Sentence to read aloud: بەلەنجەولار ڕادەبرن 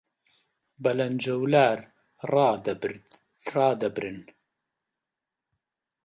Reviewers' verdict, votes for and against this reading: rejected, 1, 2